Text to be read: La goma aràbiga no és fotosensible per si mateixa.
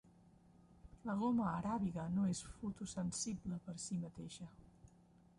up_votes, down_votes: 0, 2